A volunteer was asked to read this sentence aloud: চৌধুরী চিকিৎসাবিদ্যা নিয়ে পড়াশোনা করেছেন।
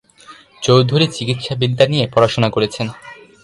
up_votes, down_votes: 2, 0